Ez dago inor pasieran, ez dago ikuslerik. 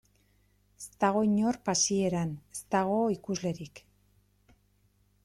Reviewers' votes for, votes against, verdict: 2, 0, accepted